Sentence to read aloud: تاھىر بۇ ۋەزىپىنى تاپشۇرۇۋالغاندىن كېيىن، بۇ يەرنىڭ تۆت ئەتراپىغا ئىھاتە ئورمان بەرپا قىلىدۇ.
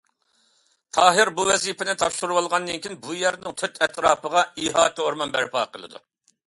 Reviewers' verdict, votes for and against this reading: accepted, 2, 0